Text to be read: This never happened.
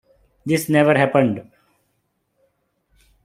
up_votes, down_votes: 3, 0